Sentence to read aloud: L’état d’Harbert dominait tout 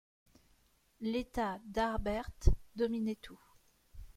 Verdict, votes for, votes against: accepted, 2, 0